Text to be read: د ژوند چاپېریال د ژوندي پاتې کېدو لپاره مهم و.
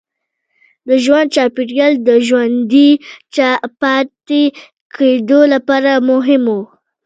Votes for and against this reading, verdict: 1, 2, rejected